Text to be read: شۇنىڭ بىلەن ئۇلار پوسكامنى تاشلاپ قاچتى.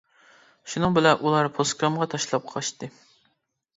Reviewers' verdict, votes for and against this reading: rejected, 0, 2